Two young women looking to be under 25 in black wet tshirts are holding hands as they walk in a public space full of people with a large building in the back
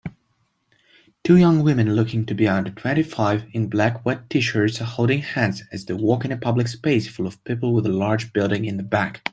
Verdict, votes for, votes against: rejected, 0, 2